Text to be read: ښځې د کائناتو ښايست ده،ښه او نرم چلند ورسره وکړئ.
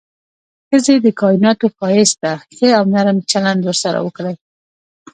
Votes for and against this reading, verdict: 2, 0, accepted